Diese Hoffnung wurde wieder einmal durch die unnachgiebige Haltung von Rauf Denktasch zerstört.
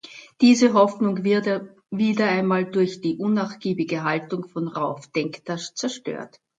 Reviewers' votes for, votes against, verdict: 0, 2, rejected